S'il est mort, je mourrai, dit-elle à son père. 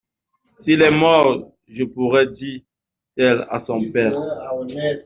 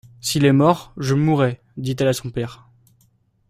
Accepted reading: second